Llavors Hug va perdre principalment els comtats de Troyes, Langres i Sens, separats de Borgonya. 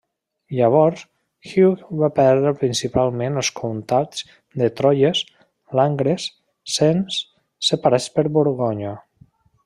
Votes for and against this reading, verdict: 0, 2, rejected